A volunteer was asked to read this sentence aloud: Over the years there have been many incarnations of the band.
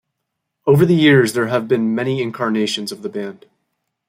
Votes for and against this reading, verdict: 2, 1, accepted